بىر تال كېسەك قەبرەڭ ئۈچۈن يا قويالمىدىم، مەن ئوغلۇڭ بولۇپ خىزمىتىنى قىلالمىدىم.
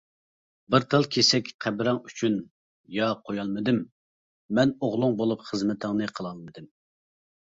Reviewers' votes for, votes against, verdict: 0, 2, rejected